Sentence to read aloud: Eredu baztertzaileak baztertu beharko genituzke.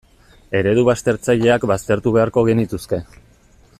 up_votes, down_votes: 2, 0